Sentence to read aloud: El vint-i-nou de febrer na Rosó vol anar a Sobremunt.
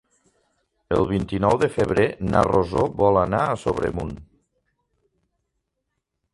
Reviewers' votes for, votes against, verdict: 3, 0, accepted